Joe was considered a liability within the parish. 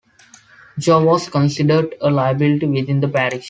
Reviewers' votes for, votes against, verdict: 2, 1, accepted